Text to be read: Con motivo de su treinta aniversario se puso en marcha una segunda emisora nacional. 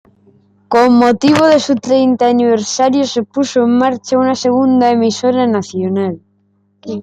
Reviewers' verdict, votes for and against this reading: accepted, 2, 0